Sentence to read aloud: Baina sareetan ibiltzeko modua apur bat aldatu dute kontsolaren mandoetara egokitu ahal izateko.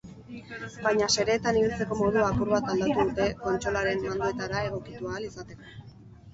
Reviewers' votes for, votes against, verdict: 0, 4, rejected